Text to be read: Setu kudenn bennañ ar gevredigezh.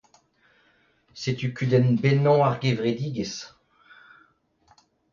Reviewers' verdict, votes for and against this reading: accepted, 2, 0